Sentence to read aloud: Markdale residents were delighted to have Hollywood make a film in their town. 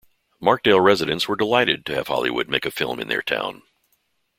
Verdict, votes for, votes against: accepted, 2, 0